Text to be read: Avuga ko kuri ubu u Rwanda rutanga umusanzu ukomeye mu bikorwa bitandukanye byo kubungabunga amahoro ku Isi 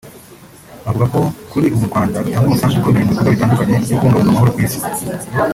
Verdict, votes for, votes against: rejected, 0, 2